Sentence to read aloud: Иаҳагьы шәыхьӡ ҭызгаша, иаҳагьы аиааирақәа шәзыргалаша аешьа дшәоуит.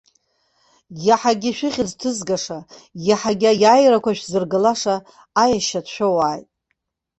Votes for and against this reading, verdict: 1, 2, rejected